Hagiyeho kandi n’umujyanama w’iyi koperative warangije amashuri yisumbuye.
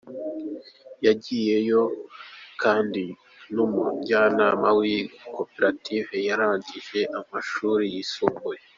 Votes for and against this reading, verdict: 1, 2, rejected